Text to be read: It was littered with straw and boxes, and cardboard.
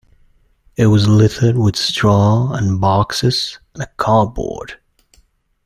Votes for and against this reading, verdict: 2, 1, accepted